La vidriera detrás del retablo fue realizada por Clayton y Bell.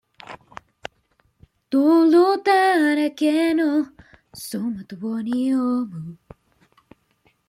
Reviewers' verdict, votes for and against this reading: rejected, 0, 2